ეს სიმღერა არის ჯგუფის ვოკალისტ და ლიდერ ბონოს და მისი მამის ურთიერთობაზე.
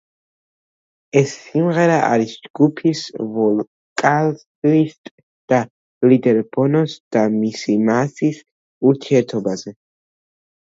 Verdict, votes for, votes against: rejected, 1, 2